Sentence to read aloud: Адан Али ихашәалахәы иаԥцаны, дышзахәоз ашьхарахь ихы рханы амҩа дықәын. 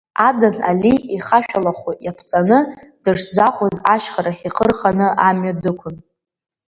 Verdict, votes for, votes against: accepted, 4, 1